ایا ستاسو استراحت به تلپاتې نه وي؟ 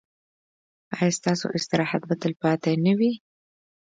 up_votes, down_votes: 2, 0